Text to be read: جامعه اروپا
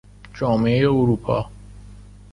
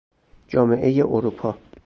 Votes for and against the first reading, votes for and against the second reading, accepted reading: 2, 0, 0, 2, first